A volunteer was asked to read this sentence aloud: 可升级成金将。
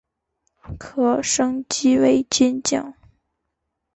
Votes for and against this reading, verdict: 1, 2, rejected